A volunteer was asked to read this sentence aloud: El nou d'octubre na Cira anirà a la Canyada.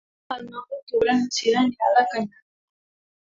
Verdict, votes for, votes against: rejected, 0, 2